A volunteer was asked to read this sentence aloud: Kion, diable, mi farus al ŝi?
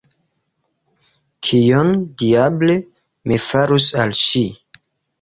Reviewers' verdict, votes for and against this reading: accepted, 2, 0